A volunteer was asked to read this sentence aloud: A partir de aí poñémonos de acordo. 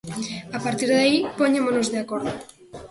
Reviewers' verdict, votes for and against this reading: rejected, 0, 2